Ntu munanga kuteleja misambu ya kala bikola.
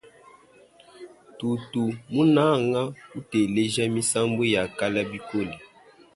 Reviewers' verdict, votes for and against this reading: rejected, 1, 3